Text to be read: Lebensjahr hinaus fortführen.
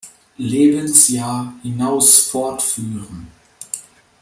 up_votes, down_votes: 2, 0